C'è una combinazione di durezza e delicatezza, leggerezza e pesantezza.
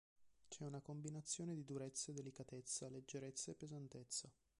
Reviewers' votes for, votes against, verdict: 1, 2, rejected